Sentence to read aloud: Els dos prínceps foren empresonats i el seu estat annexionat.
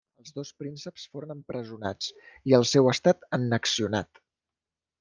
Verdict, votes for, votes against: rejected, 1, 2